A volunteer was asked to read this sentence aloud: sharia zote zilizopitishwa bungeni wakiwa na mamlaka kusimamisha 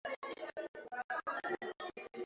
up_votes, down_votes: 0, 2